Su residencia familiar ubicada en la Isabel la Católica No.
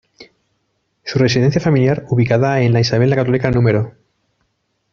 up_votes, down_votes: 2, 0